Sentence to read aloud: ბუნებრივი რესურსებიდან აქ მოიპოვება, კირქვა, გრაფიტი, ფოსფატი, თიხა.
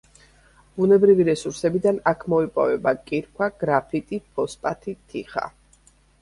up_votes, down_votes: 2, 0